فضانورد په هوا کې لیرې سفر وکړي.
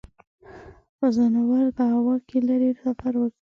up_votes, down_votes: 4, 1